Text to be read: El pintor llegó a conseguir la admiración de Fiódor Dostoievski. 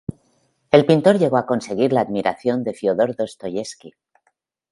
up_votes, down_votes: 2, 0